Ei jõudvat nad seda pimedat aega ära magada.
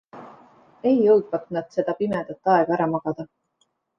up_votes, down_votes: 2, 0